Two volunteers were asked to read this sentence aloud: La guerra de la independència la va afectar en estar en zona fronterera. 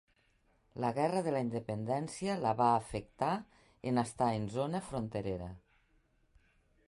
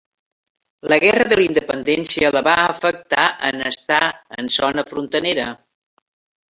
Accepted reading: first